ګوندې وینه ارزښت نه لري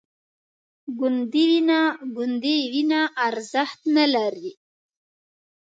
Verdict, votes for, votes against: rejected, 0, 2